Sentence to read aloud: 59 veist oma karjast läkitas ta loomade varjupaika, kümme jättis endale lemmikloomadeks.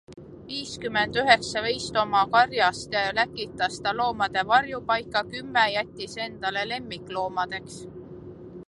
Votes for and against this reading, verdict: 0, 2, rejected